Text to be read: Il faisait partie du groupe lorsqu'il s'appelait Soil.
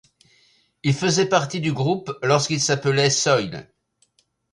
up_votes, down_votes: 2, 0